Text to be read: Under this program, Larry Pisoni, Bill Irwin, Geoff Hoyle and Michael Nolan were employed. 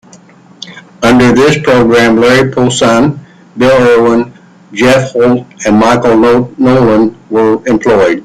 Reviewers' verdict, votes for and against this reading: rejected, 1, 2